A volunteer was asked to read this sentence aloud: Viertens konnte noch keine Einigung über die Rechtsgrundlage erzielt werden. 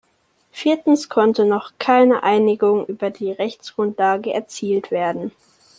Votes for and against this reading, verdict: 2, 0, accepted